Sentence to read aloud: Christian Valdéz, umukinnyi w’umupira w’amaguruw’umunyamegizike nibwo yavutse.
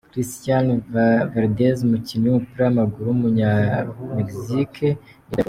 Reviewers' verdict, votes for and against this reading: accepted, 2, 1